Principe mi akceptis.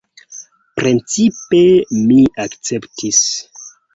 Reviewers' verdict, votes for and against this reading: rejected, 1, 2